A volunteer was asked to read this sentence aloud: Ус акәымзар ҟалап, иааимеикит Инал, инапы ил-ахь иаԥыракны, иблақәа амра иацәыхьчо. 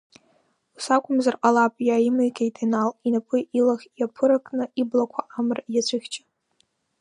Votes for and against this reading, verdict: 0, 2, rejected